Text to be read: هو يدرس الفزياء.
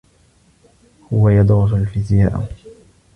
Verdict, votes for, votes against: rejected, 1, 2